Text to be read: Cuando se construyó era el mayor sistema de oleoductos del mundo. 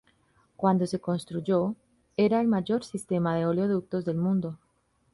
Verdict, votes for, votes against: accepted, 2, 0